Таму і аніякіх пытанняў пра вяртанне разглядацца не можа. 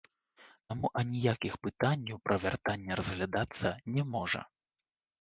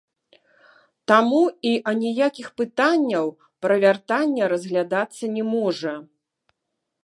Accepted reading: second